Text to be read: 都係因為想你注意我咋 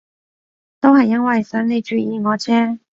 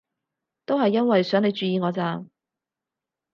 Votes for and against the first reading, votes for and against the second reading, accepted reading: 0, 2, 4, 0, second